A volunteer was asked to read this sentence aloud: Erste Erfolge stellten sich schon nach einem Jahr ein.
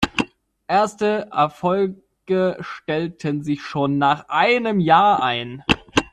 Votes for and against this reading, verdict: 1, 2, rejected